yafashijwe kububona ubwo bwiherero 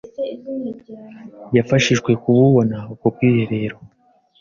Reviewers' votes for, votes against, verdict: 2, 0, accepted